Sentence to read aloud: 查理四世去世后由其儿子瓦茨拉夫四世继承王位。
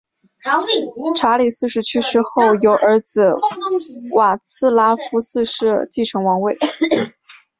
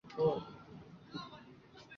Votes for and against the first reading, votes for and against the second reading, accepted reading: 4, 1, 0, 2, first